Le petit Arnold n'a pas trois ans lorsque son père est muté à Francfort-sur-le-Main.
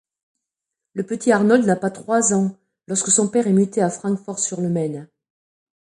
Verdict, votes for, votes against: accepted, 2, 0